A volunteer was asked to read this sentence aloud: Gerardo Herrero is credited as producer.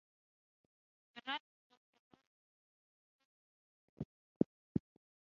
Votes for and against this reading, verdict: 0, 3, rejected